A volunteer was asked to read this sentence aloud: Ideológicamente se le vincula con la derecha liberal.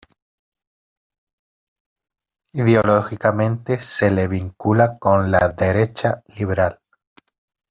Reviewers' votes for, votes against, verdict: 0, 2, rejected